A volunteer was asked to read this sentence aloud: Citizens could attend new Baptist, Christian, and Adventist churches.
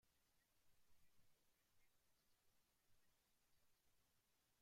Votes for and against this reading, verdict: 0, 2, rejected